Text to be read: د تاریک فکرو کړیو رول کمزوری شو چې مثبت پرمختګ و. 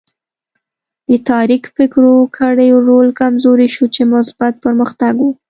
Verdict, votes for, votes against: accepted, 2, 0